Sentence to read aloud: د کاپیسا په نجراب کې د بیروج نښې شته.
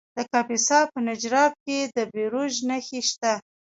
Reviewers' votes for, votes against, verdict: 0, 2, rejected